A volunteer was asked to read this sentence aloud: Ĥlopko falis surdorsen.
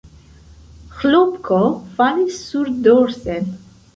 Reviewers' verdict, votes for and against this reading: rejected, 0, 2